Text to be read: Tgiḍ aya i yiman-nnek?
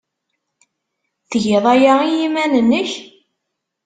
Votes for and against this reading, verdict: 2, 0, accepted